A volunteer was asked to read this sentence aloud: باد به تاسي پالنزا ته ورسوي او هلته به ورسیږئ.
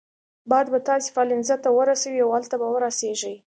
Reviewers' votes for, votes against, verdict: 2, 0, accepted